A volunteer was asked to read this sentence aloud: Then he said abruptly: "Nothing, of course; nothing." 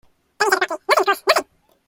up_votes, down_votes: 0, 2